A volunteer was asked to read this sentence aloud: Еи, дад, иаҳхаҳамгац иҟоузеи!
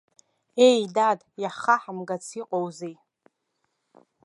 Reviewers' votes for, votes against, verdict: 0, 2, rejected